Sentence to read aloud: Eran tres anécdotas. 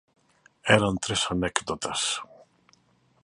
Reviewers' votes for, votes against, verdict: 3, 0, accepted